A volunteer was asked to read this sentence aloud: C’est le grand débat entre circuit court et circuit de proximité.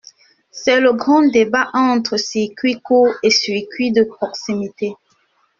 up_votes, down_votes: 2, 1